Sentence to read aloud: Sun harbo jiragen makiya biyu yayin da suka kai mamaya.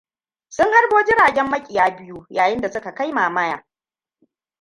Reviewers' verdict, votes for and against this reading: rejected, 1, 2